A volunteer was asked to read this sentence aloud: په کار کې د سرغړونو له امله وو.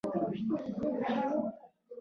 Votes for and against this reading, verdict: 0, 2, rejected